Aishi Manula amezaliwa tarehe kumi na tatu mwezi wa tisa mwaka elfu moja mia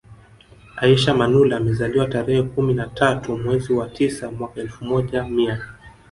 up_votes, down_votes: 0, 2